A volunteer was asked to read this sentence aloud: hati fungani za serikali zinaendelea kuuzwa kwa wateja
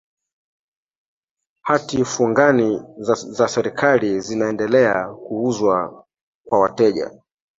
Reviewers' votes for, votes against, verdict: 3, 1, accepted